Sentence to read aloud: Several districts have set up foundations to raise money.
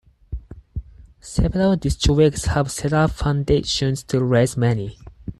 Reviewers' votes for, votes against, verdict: 4, 0, accepted